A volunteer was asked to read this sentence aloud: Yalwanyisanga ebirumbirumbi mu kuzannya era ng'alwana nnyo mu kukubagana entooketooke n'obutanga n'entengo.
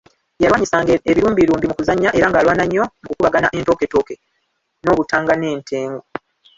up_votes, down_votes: 1, 2